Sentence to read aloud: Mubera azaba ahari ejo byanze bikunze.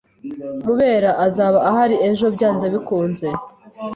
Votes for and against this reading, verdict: 2, 0, accepted